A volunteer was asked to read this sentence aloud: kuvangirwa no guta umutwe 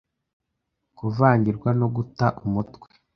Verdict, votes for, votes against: accepted, 2, 1